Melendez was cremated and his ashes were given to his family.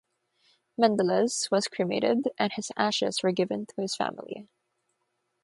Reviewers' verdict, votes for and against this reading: rejected, 3, 3